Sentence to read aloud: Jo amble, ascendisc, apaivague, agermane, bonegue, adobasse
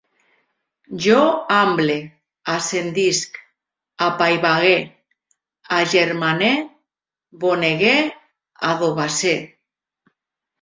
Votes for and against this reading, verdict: 0, 2, rejected